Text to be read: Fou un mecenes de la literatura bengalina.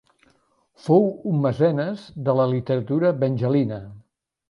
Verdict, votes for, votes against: rejected, 1, 2